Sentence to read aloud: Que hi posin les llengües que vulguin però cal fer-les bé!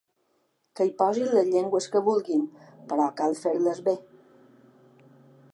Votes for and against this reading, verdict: 2, 1, accepted